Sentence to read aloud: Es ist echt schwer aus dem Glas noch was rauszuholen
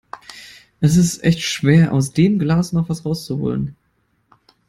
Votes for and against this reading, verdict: 0, 2, rejected